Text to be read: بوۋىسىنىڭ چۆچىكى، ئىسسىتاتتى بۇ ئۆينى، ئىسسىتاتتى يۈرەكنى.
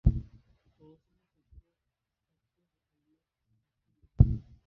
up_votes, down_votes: 0, 2